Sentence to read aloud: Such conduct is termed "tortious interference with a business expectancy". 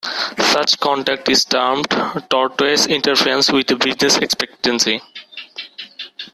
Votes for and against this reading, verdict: 0, 2, rejected